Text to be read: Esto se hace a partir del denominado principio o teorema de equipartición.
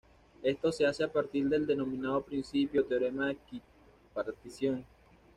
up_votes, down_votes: 2, 0